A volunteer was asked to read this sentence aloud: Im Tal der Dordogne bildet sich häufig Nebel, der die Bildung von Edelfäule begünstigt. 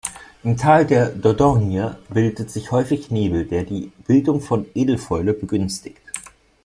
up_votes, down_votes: 2, 0